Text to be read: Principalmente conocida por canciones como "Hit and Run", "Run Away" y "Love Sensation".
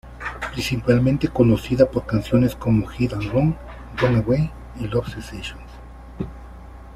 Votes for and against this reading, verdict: 0, 2, rejected